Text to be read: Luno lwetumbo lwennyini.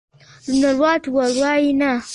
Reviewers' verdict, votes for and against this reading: rejected, 0, 2